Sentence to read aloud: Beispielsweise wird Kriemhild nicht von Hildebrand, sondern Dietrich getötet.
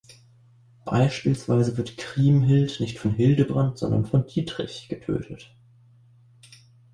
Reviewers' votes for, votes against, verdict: 0, 2, rejected